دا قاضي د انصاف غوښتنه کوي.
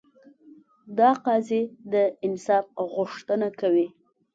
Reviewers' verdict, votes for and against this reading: accepted, 2, 0